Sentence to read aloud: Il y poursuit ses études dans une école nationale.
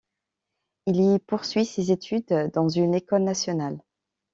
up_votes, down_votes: 2, 0